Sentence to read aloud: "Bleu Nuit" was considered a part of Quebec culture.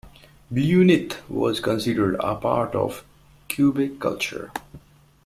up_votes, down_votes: 1, 2